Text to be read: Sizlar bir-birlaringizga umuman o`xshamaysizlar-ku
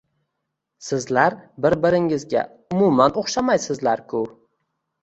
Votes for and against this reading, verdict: 2, 0, accepted